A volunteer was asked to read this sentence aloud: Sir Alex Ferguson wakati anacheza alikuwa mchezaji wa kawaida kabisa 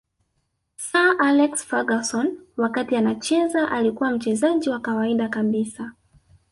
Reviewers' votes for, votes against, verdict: 0, 2, rejected